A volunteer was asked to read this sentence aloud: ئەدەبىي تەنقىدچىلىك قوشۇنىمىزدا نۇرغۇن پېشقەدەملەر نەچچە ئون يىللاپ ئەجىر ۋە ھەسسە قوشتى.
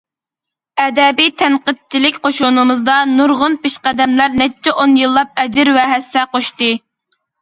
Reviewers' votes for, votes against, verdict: 2, 0, accepted